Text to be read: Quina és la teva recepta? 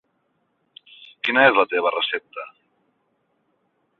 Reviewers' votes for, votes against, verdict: 6, 0, accepted